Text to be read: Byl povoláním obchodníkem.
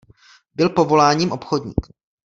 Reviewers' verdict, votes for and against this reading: rejected, 1, 2